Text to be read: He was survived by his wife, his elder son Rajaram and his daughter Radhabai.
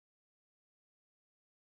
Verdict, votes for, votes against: rejected, 0, 2